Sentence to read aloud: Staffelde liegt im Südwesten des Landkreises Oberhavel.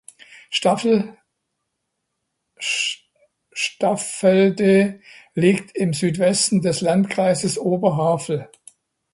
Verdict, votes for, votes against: rejected, 1, 2